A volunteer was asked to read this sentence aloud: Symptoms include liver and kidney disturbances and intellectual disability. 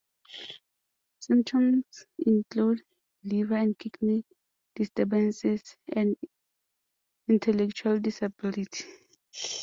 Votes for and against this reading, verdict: 2, 0, accepted